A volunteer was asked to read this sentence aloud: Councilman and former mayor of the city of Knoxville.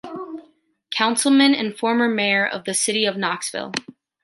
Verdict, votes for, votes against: accepted, 2, 0